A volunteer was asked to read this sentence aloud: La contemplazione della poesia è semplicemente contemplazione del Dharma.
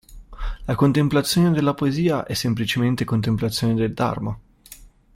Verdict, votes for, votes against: accepted, 2, 0